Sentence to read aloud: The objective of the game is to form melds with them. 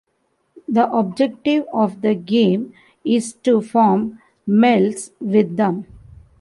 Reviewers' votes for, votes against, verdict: 2, 0, accepted